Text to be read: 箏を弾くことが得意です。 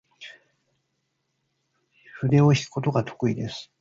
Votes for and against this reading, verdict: 0, 2, rejected